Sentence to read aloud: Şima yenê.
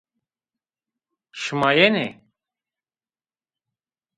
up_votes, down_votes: 1, 2